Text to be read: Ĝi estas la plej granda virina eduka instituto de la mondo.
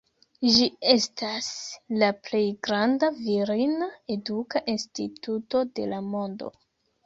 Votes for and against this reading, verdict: 2, 0, accepted